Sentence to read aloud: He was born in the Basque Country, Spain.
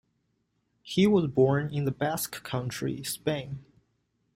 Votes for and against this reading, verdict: 2, 0, accepted